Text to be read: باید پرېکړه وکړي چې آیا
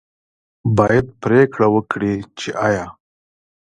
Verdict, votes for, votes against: rejected, 1, 2